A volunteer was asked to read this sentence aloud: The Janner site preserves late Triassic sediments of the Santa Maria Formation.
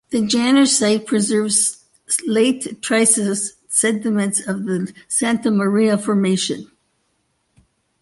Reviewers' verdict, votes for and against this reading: rejected, 0, 2